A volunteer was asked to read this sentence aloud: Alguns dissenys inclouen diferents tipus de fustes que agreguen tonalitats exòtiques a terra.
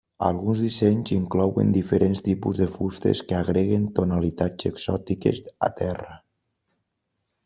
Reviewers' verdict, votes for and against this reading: accepted, 3, 0